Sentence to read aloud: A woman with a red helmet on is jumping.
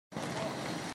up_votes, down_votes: 0, 2